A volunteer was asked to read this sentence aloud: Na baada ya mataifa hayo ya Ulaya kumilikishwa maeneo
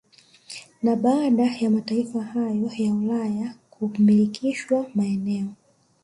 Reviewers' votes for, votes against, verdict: 1, 2, rejected